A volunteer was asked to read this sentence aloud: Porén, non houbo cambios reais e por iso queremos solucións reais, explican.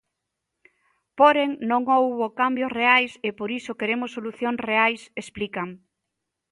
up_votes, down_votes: 0, 2